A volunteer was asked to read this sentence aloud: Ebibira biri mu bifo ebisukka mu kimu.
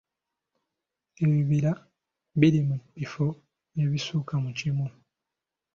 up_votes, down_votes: 2, 0